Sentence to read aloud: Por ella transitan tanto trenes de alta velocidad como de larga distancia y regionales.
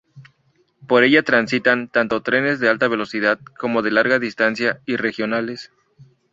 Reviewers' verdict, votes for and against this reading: rejected, 0, 2